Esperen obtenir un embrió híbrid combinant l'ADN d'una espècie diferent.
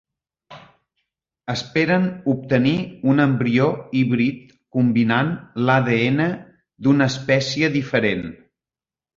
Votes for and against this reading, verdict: 3, 0, accepted